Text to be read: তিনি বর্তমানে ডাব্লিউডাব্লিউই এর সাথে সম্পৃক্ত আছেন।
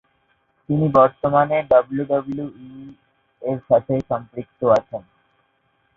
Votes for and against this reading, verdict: 0, 2, rejected